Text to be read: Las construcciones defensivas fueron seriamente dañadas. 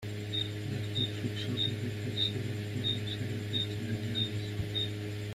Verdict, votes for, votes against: rejected, 0, 2